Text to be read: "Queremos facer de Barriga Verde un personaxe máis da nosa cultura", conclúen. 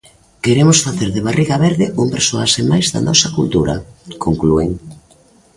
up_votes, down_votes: 0, 2